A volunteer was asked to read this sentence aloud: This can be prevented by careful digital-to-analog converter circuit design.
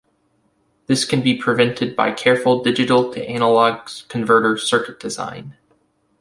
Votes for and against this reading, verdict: 2, 0, accepted